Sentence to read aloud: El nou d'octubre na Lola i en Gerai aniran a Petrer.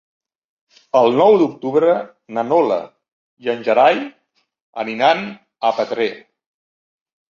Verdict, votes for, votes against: rejected, 1, 2